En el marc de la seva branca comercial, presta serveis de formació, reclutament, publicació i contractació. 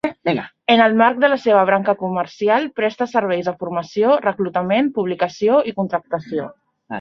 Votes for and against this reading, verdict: 1, 2, rejected